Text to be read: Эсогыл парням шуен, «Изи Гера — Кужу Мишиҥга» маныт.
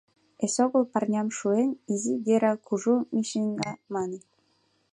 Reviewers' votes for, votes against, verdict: 2, 0, accepted